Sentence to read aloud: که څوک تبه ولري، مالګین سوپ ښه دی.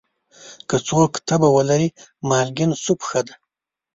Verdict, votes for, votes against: rejected, 1, 2